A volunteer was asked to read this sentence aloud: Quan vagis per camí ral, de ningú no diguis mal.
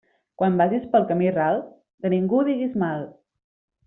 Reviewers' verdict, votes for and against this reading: rejected, 1, 2